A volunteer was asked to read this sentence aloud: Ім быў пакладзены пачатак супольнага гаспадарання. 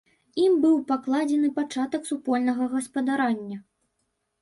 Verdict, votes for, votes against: rejected, 1, 2